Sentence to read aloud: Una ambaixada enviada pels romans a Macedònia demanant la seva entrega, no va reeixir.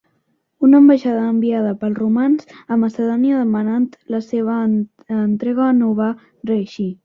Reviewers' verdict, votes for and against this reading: accepted, 2, 0